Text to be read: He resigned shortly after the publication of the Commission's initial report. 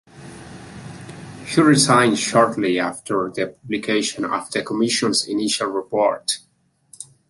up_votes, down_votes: 1, 2